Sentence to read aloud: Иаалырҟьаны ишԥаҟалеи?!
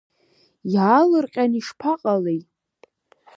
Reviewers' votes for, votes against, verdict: 3, 0, accepted